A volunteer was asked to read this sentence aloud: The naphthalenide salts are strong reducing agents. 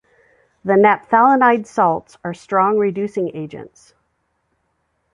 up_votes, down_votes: 2, 0